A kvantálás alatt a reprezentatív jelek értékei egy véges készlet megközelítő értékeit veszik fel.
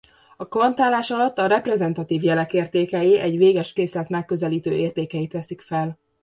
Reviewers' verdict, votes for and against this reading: accepted, 2, 0